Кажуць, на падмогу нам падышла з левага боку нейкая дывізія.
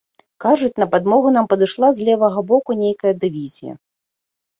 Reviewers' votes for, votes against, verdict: 3, 0, accepted